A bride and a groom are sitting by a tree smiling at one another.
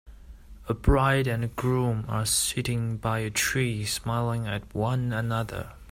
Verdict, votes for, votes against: accepted, 3, 0